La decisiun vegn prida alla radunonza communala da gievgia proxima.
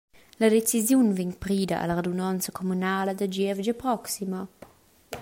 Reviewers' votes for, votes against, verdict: 2, 0, accepted